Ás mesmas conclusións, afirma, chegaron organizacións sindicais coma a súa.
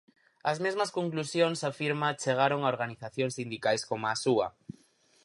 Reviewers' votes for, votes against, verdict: 4, 2, accepted